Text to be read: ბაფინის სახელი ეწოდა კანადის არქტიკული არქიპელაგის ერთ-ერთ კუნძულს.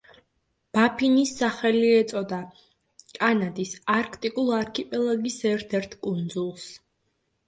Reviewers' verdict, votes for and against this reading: rejected, 0, 2